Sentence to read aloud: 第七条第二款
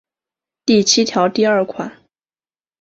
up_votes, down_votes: 5, 0